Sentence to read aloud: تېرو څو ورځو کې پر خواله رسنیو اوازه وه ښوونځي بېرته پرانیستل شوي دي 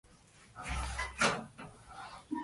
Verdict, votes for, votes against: rejected, 1, 2